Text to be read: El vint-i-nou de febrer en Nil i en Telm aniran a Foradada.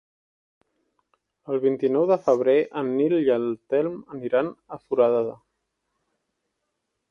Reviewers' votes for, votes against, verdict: 1, 2, rejected